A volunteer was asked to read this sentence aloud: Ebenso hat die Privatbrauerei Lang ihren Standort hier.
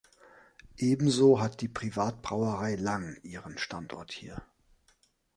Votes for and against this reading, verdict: 2, 0, accepted